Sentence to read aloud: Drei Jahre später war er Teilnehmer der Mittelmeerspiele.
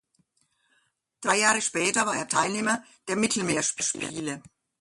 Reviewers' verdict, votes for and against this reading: rejected, 0, 2